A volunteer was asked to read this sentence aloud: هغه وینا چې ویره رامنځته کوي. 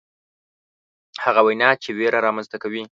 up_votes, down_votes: 2, 0